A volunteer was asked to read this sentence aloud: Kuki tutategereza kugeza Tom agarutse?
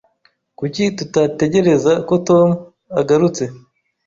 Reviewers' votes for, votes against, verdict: 0, 2, rejected